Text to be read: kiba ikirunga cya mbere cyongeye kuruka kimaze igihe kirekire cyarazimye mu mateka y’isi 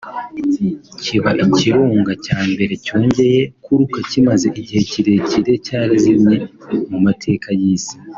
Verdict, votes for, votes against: accepted, 2, 0